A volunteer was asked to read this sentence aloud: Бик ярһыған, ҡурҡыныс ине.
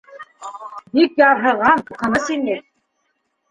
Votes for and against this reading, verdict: 2, 1, accepted